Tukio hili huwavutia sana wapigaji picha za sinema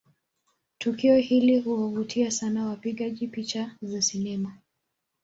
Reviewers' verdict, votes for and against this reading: accepted, 2, 0